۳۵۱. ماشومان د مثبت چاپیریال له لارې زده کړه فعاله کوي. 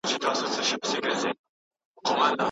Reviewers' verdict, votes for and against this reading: rejected, 0, 2